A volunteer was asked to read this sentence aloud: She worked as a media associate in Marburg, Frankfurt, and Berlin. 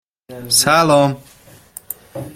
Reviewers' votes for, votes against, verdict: 0, 2, rejected